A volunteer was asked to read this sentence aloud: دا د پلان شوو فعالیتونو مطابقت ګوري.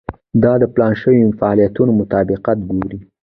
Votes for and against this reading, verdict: 1, 2, rejected